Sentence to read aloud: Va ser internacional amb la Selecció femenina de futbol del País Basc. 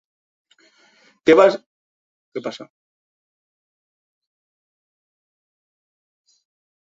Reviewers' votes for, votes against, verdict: 0, 2, rejected